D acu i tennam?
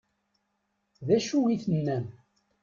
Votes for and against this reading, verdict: 2, 0, accepted